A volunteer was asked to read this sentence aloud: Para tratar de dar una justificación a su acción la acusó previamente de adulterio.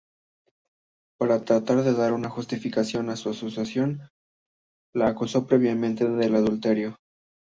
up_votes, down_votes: 2, 1